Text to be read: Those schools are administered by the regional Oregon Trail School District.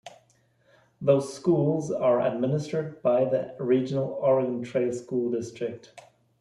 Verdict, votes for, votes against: accepted, 2, 0